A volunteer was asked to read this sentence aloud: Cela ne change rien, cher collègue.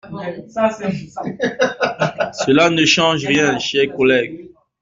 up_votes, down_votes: 1, 2